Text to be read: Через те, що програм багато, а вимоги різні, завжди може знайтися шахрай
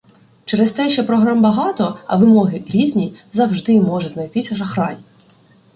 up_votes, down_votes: 2, 1